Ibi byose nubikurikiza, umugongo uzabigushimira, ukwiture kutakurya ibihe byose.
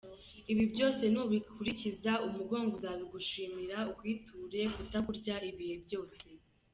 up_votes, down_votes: 2, 1